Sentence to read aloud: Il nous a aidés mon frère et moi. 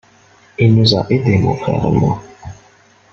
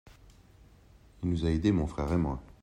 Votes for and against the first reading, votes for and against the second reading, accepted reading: 1, 2, 2, 0, second